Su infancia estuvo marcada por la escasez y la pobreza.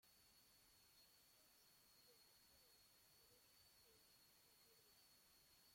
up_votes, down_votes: 0, 2